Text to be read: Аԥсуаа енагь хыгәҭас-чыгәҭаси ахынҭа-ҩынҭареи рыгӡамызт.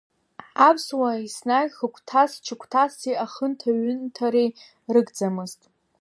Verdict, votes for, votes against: accepted, 2, 1